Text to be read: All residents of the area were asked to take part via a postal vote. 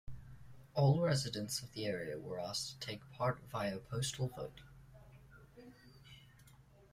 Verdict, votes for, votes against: accepted, 2, 0